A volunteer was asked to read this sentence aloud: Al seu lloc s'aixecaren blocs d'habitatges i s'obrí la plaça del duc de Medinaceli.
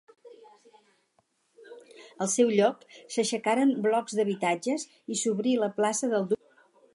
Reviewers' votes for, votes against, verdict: 0, 4, rejected